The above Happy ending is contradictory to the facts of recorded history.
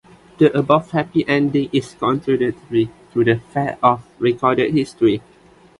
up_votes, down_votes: 0, 2